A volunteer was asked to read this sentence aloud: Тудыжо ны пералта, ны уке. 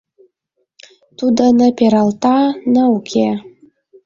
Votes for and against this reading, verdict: 0, 2, rejected